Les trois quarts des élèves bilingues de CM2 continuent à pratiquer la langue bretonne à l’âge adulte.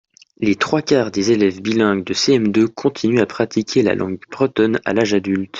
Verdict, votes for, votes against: rejected, 0, 2